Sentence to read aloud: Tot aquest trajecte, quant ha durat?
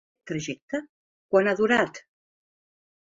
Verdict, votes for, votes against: rejected, 0, 3